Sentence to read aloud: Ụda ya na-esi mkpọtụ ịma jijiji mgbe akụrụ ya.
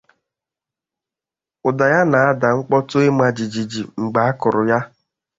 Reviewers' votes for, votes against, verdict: 1, 2, rejected